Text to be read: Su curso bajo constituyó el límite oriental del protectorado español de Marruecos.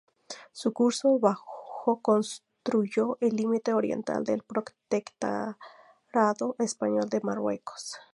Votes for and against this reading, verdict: 0, 2, rejected